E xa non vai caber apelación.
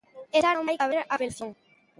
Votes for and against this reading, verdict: 0, 2, rejected